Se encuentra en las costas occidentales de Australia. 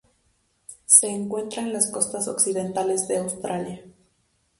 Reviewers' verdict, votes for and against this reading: accepted, 2, 0